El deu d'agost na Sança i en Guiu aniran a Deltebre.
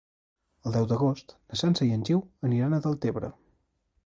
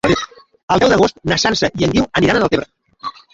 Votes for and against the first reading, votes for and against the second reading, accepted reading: 2, 1, 1, 2, first